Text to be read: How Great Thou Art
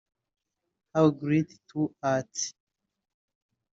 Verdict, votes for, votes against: rejected, 1, 2